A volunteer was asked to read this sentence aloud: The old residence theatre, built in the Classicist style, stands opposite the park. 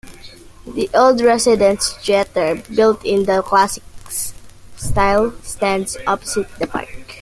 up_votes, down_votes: 0, 2